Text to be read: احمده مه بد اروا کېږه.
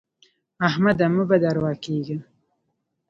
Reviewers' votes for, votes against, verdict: 1, 2, rejected